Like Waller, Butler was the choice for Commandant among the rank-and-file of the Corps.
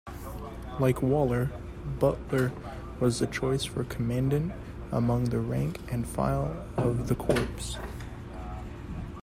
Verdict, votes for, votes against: rejected, 0, 2